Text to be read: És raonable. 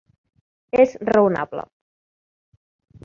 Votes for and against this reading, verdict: 2, 0, accepted